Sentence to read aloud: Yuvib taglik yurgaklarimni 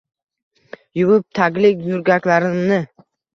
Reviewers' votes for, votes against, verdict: 1, 2, rejected